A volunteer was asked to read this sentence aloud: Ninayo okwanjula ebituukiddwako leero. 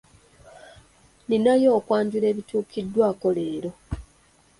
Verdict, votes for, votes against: accepted, 2, 0